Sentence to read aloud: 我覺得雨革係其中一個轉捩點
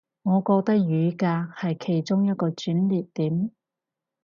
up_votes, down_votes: 0, 2